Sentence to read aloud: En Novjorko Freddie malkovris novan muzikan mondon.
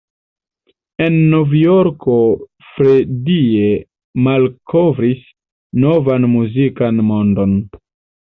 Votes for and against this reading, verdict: 2, 0, accepted